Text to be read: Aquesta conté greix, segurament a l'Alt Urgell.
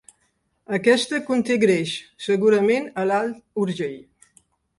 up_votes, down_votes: 3, 0